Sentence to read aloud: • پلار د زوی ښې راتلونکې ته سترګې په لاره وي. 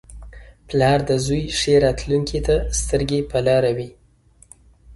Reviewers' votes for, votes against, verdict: 2, 1, accepted